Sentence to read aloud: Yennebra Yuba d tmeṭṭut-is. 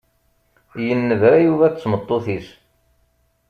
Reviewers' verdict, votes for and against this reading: accepted, 2, 0